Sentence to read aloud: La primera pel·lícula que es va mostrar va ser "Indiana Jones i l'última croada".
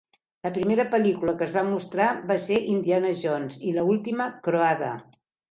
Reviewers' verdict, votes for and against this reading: rejected, 1, 2